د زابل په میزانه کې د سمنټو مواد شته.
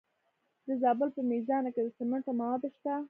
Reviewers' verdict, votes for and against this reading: rejected, 1, 2